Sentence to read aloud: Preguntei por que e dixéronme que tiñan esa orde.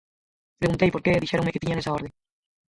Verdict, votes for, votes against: rejected, 0, 4